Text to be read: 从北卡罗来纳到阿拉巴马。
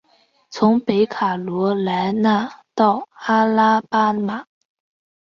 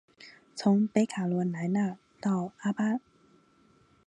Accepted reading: first